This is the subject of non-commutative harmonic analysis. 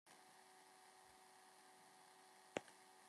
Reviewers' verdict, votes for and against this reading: rejected, 0, 2